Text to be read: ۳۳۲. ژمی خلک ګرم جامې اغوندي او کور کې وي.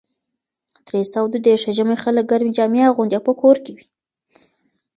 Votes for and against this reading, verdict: 0, 2, rejected